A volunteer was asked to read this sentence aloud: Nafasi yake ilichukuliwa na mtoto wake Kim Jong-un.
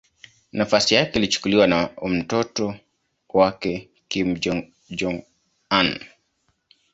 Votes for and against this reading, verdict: 1, 2, rejected